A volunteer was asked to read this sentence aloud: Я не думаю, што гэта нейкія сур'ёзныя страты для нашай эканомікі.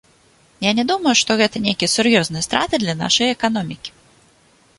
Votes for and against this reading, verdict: 2, 0, accepted